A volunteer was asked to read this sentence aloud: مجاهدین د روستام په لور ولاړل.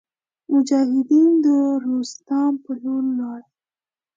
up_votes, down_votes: 2, 0